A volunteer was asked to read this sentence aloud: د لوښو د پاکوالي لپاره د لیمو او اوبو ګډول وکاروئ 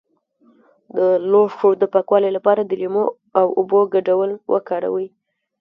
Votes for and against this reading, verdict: 1, 2, rejected